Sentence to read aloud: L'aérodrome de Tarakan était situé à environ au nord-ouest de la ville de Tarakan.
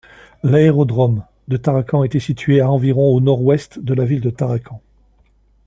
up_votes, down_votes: 2, 0